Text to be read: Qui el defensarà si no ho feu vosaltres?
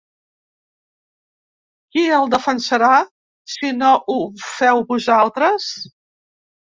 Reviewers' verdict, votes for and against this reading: accepted, 3, 0